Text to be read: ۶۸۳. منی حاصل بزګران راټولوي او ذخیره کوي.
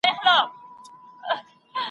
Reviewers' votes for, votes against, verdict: 0, 2, rejected